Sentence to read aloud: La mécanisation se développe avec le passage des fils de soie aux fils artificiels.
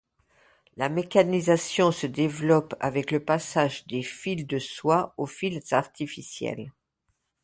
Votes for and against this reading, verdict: 2, 0, accepted